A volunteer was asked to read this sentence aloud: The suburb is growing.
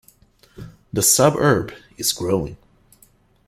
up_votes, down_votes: 1, 2